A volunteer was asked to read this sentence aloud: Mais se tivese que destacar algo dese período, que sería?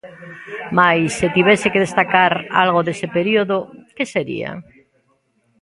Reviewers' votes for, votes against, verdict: 0, 2, rejected